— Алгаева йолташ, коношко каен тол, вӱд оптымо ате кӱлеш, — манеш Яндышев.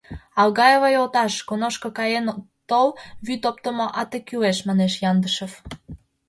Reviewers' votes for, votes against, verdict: 2, 0, accepted